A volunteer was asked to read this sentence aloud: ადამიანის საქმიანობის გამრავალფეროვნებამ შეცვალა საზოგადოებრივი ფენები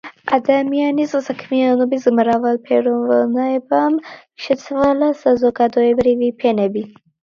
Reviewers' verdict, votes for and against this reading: rejected, 0, 2